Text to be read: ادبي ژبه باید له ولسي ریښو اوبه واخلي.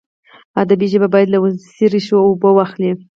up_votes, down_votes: 0, 4